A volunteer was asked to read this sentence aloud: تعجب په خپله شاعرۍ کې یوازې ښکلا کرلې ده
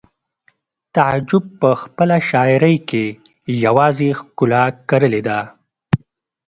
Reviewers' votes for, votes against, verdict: 2, 0, accepted